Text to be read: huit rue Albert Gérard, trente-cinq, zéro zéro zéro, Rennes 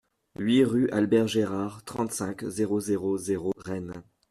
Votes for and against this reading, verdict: 2, 0, accepted